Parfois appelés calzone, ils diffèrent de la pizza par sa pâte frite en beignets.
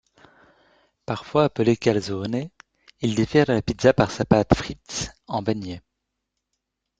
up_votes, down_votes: 2, 1